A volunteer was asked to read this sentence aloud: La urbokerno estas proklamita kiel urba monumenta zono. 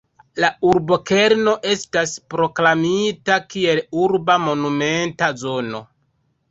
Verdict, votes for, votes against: rejected, 0, 2